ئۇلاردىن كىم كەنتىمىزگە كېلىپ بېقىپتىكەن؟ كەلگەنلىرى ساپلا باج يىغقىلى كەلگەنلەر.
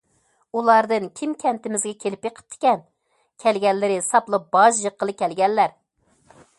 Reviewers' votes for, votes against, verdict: 2, 0, accepted